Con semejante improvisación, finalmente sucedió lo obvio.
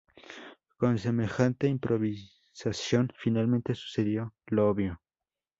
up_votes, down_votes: 0, 2